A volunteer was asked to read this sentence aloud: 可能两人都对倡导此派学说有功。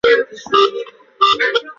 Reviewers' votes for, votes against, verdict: 0, 5, rejected